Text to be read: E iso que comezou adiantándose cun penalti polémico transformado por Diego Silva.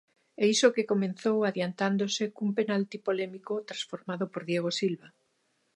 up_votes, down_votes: 1, 2